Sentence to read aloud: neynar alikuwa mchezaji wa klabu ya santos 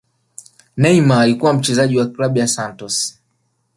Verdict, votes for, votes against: accepted, 2, 1